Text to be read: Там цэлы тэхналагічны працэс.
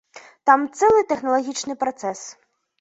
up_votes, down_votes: 2, 0